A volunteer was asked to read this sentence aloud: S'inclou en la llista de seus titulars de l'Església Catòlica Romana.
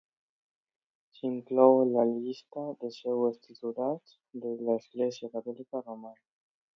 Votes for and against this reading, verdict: 0, 2, rejected